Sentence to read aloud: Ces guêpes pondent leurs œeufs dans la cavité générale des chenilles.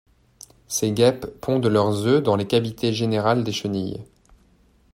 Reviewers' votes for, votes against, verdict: 1, 3, rejected